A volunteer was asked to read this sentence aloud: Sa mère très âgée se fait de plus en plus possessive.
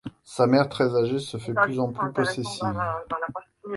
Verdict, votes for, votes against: accepted, 3, 0